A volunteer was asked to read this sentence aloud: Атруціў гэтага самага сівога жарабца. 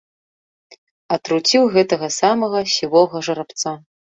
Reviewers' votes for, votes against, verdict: 0, 2, rejected